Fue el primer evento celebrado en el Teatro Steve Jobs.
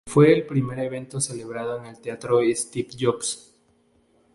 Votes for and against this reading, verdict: 0, 2, rejected